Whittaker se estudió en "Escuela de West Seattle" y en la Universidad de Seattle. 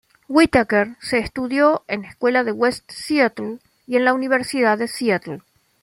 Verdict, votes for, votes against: accepted, 2, 0